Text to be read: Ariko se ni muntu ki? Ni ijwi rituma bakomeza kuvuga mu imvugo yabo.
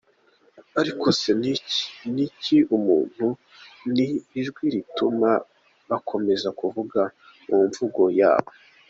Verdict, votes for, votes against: rejected, 0, 2